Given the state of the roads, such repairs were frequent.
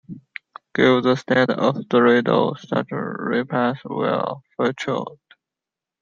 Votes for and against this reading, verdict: 0, 2, rejected